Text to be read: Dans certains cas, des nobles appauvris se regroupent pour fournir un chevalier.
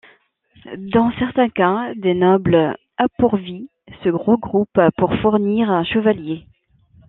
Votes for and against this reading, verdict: 0, 2, rejected